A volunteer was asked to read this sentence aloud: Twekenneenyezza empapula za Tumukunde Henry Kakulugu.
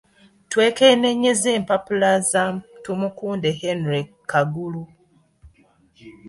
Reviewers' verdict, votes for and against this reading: accepted, 2, 0